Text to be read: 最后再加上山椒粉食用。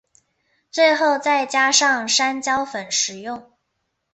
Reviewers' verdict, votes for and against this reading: accepted, 7, 0